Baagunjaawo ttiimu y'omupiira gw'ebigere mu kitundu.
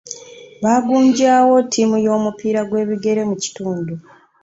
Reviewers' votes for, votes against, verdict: 2, 0, accepted